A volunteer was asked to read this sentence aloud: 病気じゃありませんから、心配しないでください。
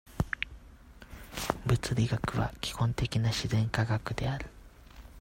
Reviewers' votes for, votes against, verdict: 0, 2, rejected